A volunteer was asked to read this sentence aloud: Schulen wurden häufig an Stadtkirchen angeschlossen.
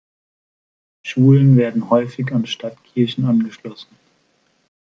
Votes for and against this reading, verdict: 1, 2, rejected